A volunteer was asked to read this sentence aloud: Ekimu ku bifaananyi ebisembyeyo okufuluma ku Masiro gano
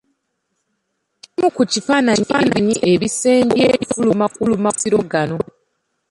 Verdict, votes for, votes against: rejected, 0, 2